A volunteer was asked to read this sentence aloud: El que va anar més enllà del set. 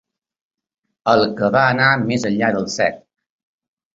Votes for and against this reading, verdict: 3, 0, accepted